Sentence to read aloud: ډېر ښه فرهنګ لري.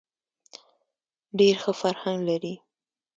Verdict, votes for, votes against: accepted, 2, 0